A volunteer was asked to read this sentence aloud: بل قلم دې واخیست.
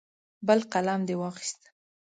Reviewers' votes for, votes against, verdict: 0, 2, rejected